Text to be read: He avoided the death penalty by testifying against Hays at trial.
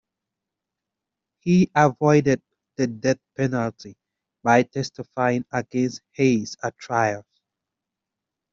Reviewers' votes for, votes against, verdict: 2, 1, accepted